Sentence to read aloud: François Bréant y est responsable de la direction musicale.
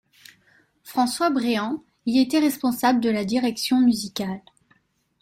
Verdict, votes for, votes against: rejected, 1, 2